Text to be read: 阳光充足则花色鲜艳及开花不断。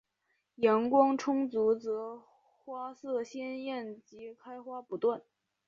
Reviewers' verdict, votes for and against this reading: accepted, 4, 0